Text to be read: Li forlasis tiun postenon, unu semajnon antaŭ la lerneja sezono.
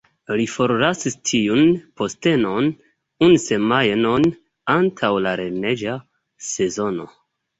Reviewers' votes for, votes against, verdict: 2, 1, accepted